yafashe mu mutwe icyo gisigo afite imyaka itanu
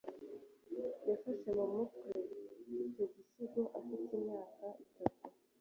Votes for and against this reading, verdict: 2, 0, accepted